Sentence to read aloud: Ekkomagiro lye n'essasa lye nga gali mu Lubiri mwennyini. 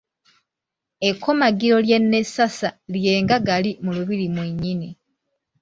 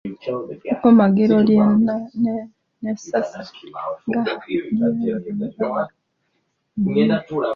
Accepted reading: first